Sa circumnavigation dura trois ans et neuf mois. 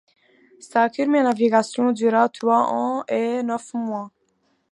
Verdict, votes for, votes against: rejected, 1, 2